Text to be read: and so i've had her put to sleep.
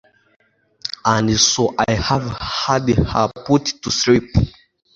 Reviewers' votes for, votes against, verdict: 1, 2, rejected